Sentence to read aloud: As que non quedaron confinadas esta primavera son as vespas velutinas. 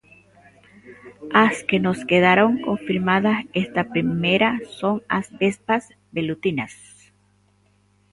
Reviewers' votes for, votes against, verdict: 0, 2, rejected